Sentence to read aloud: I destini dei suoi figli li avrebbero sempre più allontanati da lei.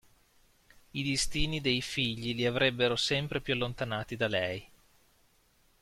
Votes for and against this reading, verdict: 0, 2, rejected